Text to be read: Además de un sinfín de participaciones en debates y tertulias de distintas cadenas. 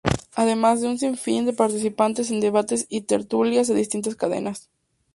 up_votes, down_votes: 0, 4